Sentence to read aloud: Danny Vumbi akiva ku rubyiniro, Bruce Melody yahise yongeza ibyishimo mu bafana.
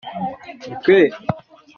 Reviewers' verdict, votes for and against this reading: rejected, 0, 2